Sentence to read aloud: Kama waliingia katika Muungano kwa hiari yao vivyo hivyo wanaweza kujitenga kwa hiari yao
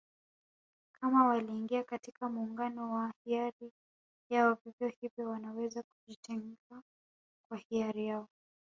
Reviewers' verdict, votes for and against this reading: accepted, 2, 0